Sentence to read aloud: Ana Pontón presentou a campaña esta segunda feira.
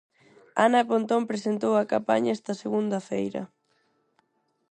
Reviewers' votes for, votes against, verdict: 4, 2, accepted